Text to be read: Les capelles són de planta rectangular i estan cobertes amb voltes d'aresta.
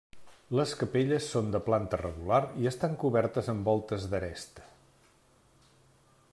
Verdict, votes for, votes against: rejected, 1, 2